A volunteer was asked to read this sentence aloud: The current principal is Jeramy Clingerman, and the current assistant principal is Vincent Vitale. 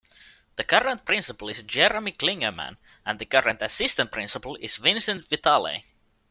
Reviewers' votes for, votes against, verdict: 2, 0, accepted